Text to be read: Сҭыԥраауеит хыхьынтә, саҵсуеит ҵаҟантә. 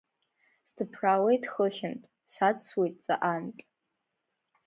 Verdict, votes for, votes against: accepted, 2, 1